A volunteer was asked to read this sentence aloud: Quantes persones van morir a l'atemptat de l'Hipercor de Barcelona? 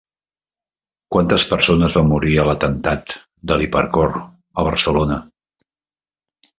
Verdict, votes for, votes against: rejected, 0, 2